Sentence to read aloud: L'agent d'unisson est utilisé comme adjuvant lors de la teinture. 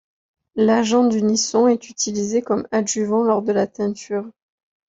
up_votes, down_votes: 2, 0